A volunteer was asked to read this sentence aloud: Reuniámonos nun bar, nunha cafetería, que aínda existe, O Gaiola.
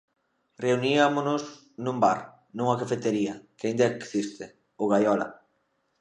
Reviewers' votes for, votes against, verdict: 1, 2, rejected